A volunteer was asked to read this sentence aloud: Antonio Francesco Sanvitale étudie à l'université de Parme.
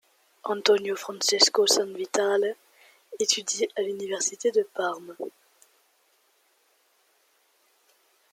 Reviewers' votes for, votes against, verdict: 2, 0, accepted